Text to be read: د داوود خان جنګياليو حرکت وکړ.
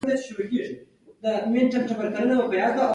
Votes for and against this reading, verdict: 2, 0, accepted